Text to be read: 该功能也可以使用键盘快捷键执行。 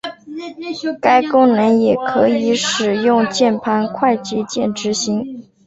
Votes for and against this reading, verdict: 2, 2, rejected